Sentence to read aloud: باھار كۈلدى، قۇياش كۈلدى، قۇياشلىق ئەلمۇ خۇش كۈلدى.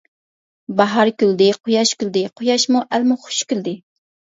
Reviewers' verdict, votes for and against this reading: rejected, 1, 2